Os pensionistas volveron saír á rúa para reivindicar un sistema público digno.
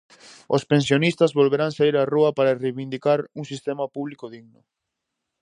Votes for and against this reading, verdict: 0, 4, rejected